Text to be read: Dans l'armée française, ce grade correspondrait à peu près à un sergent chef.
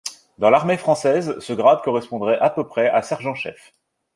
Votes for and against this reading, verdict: 2, 0, accepted